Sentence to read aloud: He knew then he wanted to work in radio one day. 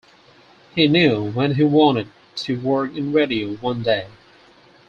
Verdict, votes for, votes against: rejected, 0, 4